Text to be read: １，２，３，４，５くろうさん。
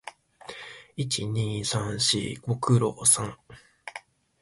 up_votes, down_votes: 0, 2